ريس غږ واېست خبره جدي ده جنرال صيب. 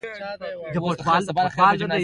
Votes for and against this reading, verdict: 0, 2, rejected